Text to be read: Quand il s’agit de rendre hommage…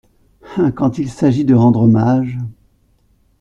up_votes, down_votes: 1, 2